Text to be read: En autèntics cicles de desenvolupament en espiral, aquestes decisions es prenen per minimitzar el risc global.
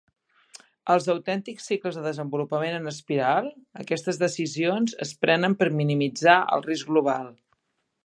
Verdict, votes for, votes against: rejected, 0, 2